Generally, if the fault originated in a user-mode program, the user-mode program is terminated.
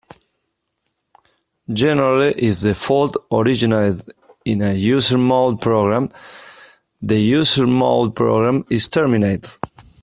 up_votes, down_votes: 2, 0